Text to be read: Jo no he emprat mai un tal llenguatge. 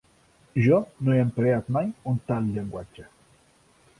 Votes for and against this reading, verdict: 3, 1, accepted